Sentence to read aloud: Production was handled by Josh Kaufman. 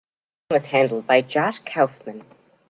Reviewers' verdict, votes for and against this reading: rejected, 1, 2